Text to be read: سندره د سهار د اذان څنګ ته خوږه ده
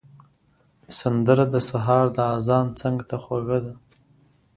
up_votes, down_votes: 2, 0